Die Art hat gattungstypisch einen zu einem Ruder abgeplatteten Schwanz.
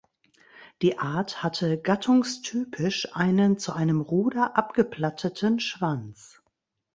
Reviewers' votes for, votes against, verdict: 0, 2, rejected